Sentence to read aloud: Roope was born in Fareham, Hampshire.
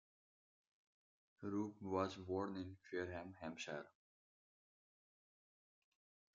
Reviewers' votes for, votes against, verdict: 2, 3, rejected